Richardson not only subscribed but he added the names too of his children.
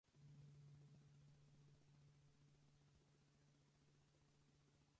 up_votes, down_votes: 0, 4